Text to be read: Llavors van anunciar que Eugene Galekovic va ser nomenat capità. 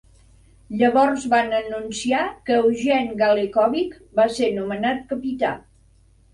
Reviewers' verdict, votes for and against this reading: accepted, 2, 0